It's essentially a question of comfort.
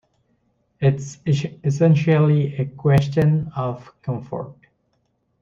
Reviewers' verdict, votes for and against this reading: rejected, 0, 2